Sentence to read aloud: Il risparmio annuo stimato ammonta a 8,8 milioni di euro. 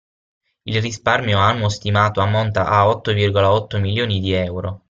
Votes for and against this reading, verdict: 0, 2, rejected